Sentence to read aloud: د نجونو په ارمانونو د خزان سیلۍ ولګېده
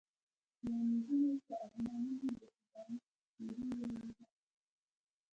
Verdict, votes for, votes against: accepted, 2, 0